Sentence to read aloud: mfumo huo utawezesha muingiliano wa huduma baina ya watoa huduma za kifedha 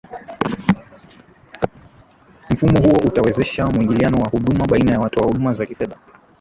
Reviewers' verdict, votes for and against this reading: rejected, 0, 2